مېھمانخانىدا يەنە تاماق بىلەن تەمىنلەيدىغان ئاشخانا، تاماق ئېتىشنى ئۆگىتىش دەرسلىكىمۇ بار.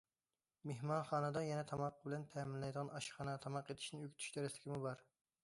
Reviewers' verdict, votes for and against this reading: accepted, 2, 0